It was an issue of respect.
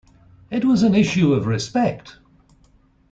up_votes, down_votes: 2, 0